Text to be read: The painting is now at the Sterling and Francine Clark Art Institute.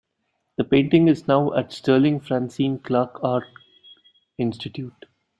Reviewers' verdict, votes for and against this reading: rejected, 0, 2